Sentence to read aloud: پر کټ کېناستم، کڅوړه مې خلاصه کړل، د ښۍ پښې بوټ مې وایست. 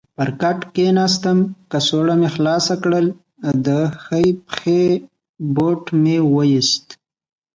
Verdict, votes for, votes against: accepted, 3, 0